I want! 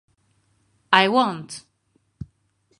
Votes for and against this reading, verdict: 2, 2, rejected